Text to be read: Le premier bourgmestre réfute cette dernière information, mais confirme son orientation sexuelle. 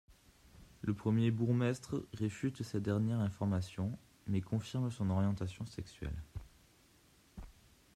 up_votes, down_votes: 1, 2